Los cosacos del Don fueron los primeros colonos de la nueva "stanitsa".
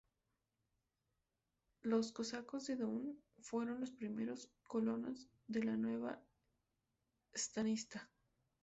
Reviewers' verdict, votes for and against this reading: rejected, 0, 2